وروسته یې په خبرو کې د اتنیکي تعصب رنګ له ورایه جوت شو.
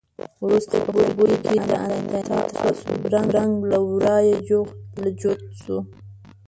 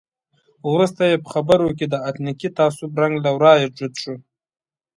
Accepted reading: second